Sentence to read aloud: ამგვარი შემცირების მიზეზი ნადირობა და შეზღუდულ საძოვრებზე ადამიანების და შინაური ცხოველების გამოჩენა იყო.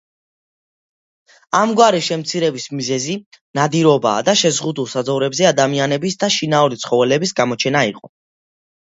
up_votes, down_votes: 2, 0